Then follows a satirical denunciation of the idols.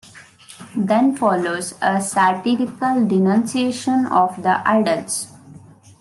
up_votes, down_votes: 1, 2